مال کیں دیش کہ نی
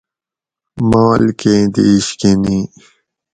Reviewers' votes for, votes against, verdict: 4, 0, accepted